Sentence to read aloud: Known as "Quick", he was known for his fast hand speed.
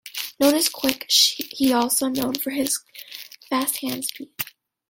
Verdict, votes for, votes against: rejected, 0, 2